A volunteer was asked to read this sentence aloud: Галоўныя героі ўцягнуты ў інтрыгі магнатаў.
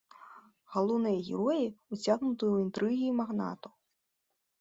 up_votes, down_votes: 2, 0